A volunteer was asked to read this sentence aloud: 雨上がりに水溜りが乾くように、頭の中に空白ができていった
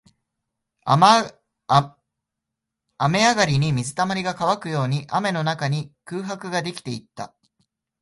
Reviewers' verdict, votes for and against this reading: rejected, 1, 2